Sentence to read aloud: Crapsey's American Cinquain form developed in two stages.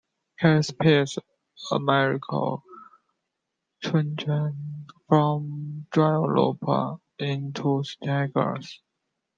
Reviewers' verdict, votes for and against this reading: rejected, 0, 2